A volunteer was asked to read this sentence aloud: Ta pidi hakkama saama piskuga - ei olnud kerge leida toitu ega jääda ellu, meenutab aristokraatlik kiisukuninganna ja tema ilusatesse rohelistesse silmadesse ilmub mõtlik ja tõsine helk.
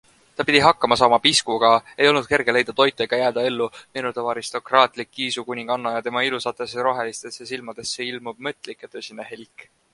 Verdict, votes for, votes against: accepted, 2, 0